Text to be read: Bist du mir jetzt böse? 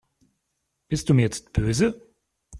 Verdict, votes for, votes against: accepted, 2, 0